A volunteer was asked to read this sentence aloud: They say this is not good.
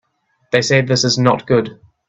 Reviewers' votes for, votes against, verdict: 2, 0, accepted